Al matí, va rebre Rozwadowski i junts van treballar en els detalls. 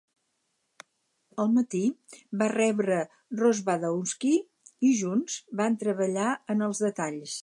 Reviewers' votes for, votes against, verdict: 4, 0, accepted